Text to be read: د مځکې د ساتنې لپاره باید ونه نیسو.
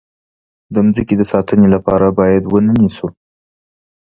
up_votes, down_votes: 2, 0